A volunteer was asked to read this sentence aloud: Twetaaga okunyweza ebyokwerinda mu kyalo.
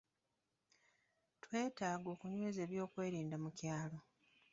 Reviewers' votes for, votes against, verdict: 1, 2, rejected